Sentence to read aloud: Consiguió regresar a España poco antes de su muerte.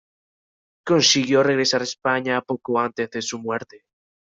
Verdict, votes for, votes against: accepted, 2, 1